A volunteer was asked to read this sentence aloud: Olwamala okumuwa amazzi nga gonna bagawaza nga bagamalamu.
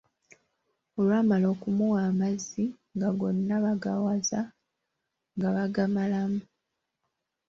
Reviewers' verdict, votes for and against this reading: rejected, 1, 2